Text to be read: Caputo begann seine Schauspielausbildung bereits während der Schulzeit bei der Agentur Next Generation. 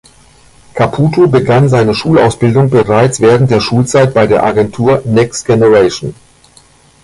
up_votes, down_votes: 1, 2